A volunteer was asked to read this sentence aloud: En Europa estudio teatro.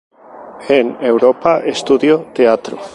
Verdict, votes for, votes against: accepted, 2, 0